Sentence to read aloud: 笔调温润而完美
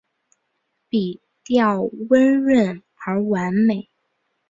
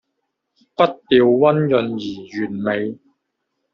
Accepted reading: first